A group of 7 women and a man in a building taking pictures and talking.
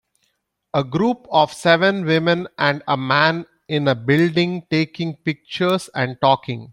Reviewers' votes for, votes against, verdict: 0, 2, rejected